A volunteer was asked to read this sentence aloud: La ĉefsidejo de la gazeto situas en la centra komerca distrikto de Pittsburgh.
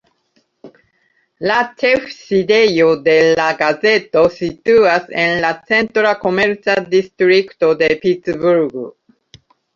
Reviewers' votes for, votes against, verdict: 0, 3, rejected